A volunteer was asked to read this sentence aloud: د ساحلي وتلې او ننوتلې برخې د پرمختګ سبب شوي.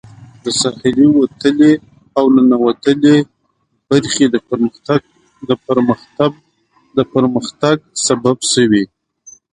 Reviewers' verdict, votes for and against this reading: rejected, 1, 2